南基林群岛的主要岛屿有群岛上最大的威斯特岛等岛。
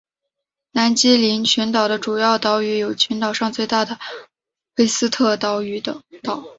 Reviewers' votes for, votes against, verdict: 3, 4, rejected